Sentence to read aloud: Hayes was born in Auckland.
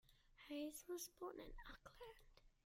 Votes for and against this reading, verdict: 1, 2, rejected